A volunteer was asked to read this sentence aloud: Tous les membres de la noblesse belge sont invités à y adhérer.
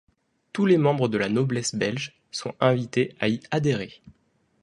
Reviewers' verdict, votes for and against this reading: accepted, 2, 0